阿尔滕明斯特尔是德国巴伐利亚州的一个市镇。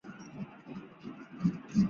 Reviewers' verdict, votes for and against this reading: rejected, 0, 2